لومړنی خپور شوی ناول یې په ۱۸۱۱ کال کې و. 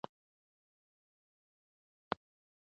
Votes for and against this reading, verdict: 0, 2, rejected